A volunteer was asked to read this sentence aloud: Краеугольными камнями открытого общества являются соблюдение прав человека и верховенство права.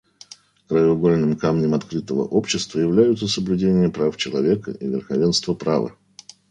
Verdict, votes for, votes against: rejected, 0, 2